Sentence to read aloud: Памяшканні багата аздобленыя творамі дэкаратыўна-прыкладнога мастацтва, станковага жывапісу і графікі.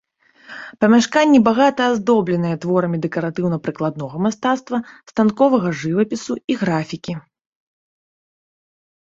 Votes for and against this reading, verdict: 2, 0, accepted